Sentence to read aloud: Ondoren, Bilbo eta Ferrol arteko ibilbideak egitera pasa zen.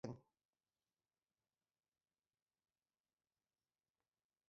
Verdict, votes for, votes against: rejected, 0, 3